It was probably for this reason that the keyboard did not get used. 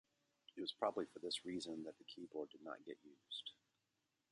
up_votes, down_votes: 2, 1